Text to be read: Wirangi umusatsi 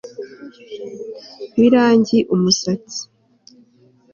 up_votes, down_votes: 3, 0